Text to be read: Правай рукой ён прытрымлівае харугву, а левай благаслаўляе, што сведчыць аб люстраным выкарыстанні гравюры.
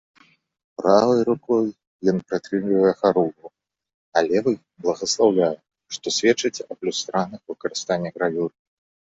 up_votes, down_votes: 2, 1